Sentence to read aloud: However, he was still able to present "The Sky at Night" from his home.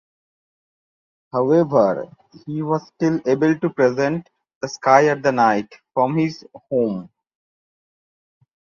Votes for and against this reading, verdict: 0, 2, rejected